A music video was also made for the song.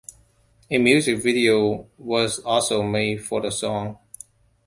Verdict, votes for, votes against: accepted, 2, 0